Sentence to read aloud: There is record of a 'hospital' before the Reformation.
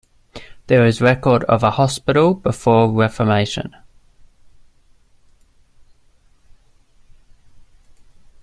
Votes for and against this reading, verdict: 1, 2, rejected